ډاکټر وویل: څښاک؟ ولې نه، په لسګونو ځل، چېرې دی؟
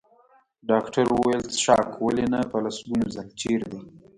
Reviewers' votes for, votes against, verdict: 1, 2, rejected